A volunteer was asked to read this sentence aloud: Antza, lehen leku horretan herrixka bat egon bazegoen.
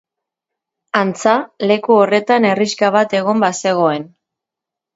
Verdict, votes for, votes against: rejected, 0, 2